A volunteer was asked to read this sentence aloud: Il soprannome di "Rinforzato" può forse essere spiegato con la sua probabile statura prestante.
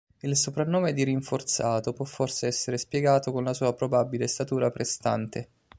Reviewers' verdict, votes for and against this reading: accepted, 2, 0